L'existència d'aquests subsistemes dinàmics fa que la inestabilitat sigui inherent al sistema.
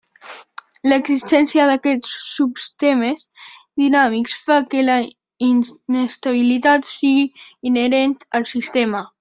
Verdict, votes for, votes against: accepted, 2, 0